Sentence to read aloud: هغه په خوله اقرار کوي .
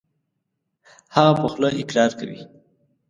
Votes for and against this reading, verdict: 2, 0, accepted